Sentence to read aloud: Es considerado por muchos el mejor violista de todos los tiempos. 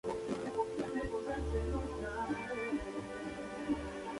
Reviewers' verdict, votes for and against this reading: rejected, 0, 2